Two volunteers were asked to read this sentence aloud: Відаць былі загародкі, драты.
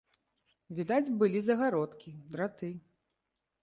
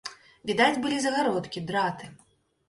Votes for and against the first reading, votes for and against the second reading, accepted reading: 2, 0, 0, 2, first